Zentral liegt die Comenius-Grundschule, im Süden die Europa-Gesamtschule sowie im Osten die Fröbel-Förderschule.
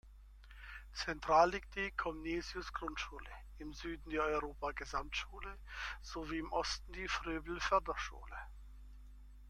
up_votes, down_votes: 0, 2